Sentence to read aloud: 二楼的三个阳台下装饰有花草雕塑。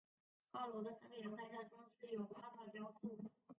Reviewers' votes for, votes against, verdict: 2, 1, accepted